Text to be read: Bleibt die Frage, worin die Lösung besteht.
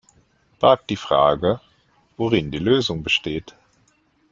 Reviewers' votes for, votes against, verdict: 1, 2, rejected